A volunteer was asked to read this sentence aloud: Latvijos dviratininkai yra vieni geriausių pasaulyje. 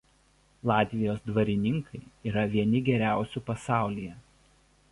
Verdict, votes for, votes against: rejected, 0, 2